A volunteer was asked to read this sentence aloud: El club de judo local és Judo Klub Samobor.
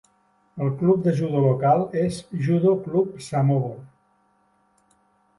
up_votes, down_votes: 2, 0